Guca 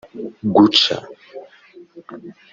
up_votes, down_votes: 3, 0